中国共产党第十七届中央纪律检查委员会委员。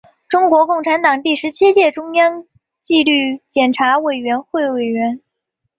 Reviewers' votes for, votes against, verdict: 2, 0, accepted